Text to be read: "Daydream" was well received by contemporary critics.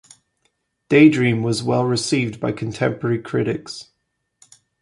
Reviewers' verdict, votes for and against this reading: accepted, 2, 0